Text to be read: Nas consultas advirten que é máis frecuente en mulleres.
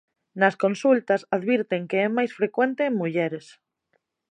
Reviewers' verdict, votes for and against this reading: accepted, 2, 0